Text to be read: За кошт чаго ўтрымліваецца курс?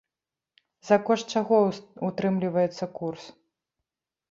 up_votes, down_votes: 0, 2